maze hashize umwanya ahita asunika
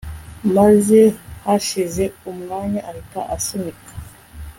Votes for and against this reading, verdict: 2, 0, accepted